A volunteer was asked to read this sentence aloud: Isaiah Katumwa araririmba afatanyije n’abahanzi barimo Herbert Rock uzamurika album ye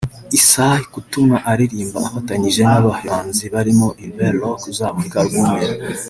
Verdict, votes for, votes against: accepted, 2, 0